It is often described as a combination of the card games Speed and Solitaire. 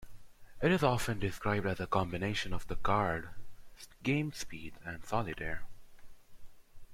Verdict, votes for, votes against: rejected, 1, 2